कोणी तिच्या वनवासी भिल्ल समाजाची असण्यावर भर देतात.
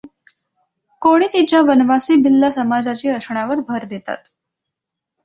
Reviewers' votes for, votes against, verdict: 2, 0, accepted